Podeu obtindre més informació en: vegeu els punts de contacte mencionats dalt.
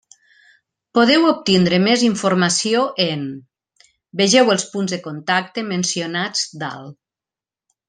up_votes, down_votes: 2, 0